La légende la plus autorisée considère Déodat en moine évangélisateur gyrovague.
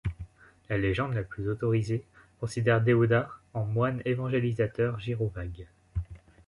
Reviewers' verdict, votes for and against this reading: accepted, 2, 0